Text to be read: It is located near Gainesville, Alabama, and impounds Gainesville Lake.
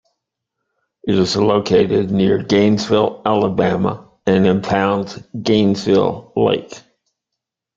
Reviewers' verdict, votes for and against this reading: accepted, 2, 0